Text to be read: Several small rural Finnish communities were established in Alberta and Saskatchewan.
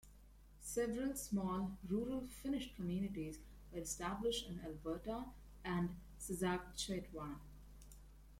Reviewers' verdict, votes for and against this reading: rejected, 0, 2